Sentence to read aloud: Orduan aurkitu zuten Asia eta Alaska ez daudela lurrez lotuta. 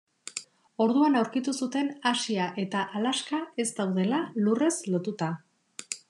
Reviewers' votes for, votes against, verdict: 2, 0, accepted